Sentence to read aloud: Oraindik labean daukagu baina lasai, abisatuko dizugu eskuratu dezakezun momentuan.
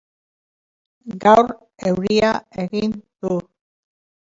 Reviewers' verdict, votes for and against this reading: rejected, 0, 2